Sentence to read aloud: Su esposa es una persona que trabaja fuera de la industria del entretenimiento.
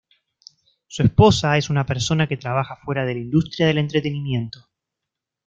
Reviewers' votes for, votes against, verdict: 2, 0, accepted